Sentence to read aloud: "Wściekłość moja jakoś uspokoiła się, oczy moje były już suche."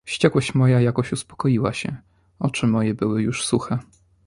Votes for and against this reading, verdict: 2, 0, accepted